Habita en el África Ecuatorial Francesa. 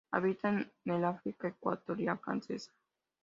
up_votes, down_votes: 2, 0